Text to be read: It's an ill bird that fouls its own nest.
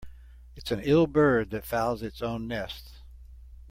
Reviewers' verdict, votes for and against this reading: accepted, 2, 0